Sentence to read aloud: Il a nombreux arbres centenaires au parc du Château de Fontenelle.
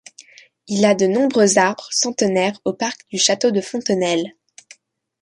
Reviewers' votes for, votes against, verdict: 0, 2, rejected